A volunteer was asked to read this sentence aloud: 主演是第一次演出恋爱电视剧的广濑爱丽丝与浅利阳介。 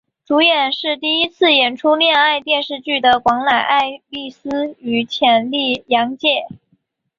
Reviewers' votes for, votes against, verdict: 2, 0, accepted